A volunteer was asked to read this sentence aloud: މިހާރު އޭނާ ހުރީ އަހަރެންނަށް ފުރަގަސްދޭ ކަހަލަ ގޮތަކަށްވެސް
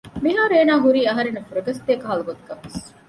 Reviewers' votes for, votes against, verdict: 2, 0, accepted